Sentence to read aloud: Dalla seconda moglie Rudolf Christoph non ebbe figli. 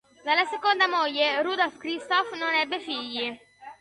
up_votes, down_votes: 3, 0